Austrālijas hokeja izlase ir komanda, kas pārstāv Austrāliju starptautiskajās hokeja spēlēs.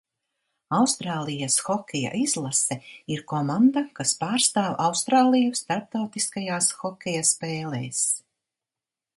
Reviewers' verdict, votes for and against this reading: accepted, 2, 0